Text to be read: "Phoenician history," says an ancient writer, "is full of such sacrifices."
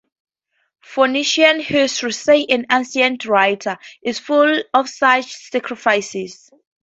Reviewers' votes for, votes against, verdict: 0, 4, rejected